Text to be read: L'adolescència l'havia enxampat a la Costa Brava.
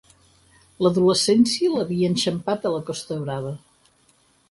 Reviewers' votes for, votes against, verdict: 6, 0, accepted